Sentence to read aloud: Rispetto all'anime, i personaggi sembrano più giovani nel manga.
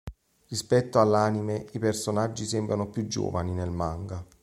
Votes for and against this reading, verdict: 2, 0, accepted